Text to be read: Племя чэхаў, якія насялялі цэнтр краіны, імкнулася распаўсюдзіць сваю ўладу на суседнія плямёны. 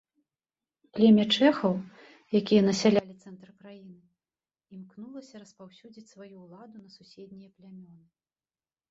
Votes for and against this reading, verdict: 1, 2, rejected